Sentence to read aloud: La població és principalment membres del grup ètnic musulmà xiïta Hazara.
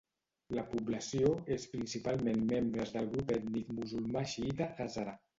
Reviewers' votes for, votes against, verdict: 0, 2, rejected